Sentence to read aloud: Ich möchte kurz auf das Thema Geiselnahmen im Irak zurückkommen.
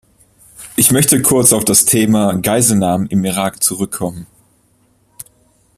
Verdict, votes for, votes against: accepted, 2, 0